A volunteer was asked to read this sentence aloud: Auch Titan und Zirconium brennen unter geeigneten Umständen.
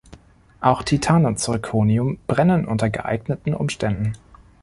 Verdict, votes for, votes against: accepted, 2, 0